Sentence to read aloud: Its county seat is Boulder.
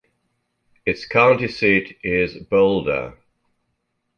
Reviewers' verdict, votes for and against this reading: rejected, 1, 2